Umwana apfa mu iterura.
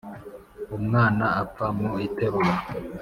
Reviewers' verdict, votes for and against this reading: accepted, 3, 1